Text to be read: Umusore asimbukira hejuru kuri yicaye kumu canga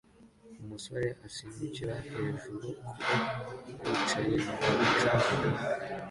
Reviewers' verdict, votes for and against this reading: accepted, 2, 0